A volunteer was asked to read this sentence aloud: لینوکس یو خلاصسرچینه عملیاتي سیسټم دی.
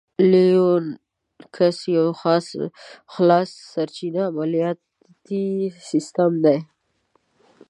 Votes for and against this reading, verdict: 0, 3, rejected